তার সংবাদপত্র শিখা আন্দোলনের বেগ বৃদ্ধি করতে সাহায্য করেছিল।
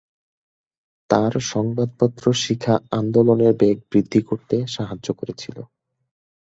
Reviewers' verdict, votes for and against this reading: accepted, 2, 0